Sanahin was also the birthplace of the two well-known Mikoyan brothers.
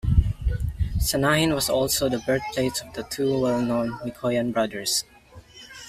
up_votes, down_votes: 2, 0